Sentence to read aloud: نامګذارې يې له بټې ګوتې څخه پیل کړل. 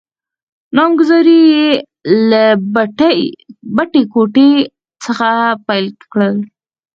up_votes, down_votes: 0, 4